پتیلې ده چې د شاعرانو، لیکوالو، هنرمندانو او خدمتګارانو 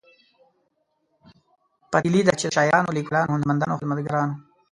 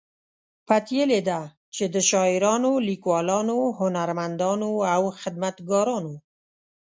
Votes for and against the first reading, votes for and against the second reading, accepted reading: 0, 2, 2, 0, second